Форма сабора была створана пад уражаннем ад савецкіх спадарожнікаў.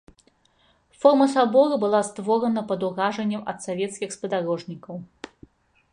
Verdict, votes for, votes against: accepted, 2, 0